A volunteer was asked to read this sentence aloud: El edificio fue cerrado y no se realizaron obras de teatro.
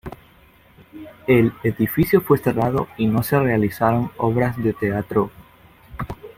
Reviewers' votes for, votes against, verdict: 2, 0, accepted